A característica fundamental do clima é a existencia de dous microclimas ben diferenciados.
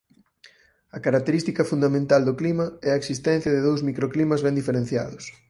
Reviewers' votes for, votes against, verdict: 4, 0, accepted